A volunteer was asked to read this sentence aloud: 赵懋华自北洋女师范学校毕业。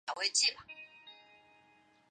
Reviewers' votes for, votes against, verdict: 0, 2, rejected